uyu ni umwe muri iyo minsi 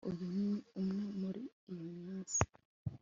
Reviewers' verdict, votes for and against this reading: accepted, 2, 0